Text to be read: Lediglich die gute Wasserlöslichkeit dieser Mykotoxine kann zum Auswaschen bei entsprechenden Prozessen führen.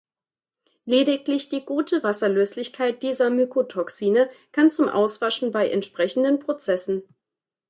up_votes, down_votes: 1, 2